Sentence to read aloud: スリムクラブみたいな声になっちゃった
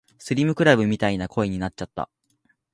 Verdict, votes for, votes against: accepted, 3, 1